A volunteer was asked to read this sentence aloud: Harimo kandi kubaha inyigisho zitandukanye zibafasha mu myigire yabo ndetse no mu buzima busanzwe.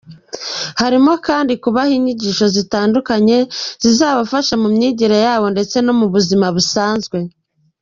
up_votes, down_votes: 1, 2